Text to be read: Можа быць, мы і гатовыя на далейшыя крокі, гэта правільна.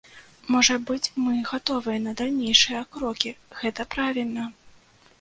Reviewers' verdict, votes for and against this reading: rejected, 0, 2